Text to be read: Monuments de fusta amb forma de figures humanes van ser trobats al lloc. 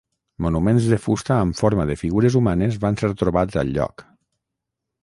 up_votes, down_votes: 6, 0